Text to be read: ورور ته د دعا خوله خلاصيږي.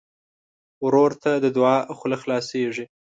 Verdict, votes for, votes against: accepted, 2, 0